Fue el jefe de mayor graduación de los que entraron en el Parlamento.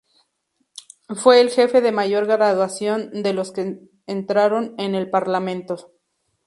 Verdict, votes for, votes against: rejected, 0, 2